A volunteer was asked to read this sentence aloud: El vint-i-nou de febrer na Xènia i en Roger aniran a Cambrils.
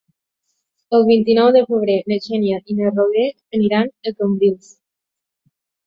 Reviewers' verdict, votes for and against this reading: rejected, 0, 2